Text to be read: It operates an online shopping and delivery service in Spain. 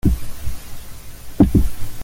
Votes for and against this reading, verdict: 0, 2, rejected